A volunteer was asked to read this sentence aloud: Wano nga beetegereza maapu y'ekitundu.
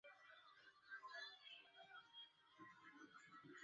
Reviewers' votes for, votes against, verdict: 0, 2, rejected